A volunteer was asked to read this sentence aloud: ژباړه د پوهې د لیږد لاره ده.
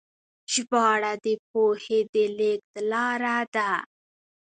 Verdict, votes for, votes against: accepted, 2, 1